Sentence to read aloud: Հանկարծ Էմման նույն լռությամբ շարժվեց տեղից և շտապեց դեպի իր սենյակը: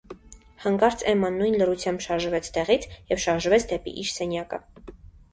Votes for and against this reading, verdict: 1, 2, rejected